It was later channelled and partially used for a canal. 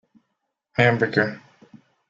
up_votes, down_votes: 0, 2